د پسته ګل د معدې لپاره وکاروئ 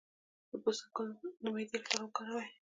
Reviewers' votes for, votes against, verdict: 2, 0, accepted